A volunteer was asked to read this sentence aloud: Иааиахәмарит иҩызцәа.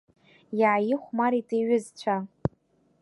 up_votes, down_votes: 2, 1